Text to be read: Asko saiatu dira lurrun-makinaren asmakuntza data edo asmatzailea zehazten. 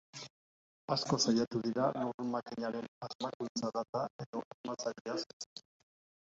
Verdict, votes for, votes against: rejected, 0, 2